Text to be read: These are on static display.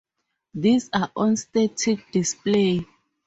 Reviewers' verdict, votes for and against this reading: accepted, 4, 0